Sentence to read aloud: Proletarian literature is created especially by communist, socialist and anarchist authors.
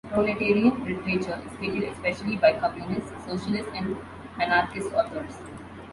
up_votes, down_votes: 0, 2